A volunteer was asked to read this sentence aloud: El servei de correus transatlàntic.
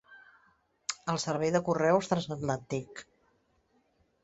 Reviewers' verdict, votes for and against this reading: accepted, 2, 1